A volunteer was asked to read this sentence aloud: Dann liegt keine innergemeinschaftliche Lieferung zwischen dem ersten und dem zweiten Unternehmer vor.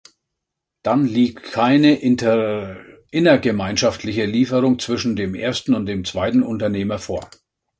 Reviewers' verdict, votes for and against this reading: rejected, 0, 2